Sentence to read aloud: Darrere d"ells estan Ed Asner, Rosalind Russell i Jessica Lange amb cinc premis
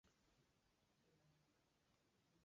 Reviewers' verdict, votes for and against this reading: rejected, 0, 2